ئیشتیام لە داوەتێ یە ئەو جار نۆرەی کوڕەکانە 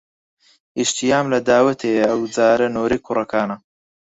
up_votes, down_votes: 2, 4